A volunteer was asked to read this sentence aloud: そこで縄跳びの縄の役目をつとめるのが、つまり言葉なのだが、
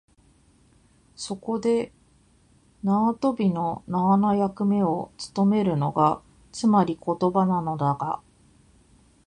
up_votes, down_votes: 0, 2